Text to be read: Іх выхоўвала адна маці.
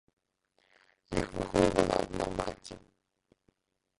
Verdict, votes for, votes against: rejected, 0, 2